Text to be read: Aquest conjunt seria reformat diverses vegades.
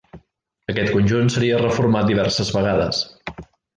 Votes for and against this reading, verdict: 3, 0, accepted